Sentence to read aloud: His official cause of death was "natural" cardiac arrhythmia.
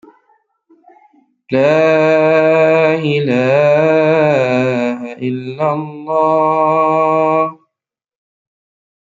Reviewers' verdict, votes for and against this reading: rejected, 0, 2